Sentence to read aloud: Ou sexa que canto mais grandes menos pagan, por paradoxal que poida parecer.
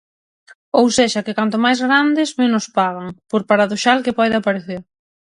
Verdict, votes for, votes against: rejected, 0, 6